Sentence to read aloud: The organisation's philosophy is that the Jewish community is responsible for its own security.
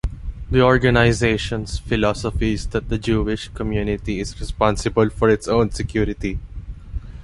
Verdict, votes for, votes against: accepted, 2, 0